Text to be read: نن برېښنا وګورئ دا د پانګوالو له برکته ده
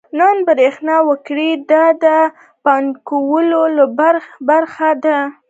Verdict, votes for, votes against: rejected, 0, 2